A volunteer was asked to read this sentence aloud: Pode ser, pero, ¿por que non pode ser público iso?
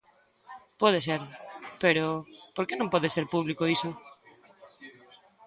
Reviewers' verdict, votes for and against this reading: accepted, 2, 0